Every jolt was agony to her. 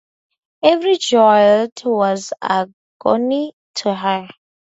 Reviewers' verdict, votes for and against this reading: accepted, 2, 0